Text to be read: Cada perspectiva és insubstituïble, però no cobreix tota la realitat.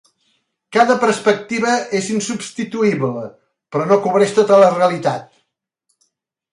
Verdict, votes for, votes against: accepted, 3, 0